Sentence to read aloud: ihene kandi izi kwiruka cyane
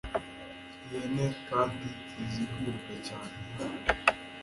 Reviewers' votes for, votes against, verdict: 2, 0, accepted